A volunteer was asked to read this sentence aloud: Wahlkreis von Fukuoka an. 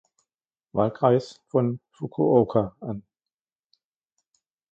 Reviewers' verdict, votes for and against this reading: rejected, 0, 2